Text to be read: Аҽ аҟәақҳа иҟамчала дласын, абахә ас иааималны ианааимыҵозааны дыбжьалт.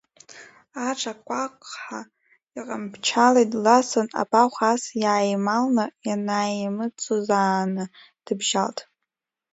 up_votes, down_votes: 1, 2